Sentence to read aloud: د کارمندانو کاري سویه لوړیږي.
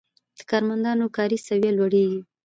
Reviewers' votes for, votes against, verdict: 2, 0, accepted